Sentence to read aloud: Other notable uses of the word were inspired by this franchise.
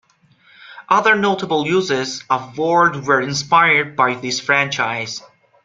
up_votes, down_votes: 0, 2